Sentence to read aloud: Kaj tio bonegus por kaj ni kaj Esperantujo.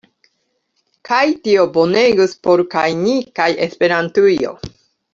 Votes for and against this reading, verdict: 2, 0, accepted